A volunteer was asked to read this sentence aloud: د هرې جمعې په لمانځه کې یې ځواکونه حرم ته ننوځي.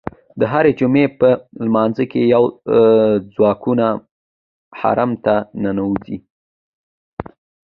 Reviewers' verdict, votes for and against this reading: accepted, 2, 0